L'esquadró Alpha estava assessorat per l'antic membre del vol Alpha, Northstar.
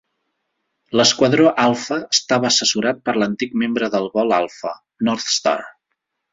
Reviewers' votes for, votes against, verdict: 2, 0, accepted